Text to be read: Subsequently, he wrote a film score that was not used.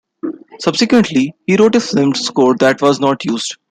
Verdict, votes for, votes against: accepted, 2, 0